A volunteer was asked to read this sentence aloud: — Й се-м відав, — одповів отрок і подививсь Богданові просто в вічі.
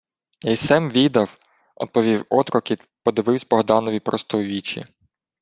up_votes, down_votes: 1, 2